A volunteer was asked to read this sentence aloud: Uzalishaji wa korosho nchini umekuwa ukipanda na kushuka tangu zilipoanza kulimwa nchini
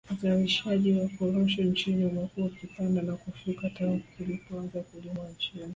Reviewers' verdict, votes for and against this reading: rejected, 0, 2